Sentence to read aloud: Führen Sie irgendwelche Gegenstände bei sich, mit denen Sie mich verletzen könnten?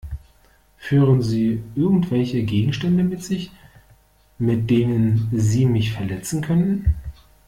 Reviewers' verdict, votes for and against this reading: rejected, 1, 2